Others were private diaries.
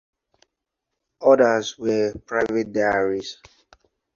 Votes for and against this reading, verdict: 2, 0, accepted